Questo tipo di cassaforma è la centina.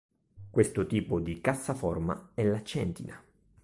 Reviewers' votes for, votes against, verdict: 2, 0, accepted